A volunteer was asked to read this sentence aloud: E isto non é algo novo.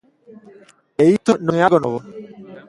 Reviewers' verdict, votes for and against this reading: rejected, 0, 2